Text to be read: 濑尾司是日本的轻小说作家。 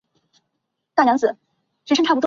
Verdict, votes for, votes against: rejected, 1, 3